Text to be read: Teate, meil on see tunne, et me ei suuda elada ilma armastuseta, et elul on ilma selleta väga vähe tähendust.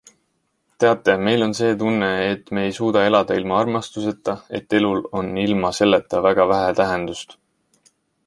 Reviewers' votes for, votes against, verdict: 2, 0, accepted